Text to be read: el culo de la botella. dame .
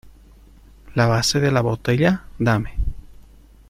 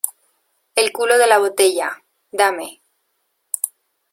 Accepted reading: second